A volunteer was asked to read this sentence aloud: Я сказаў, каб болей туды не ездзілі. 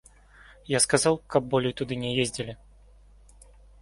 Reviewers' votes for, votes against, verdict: 2, 0, accepted